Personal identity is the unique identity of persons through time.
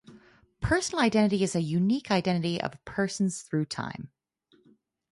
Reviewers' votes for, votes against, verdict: 2, 0, accepted